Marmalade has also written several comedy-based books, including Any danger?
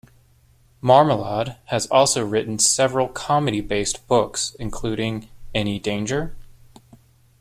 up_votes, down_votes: 2, 1